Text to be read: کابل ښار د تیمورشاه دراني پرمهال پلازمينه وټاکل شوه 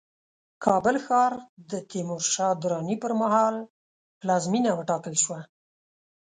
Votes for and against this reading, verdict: 2, 0, accepted